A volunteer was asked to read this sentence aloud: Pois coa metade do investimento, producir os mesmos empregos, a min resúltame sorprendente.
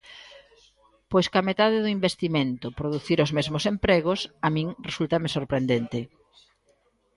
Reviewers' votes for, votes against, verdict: 0, 2, rejected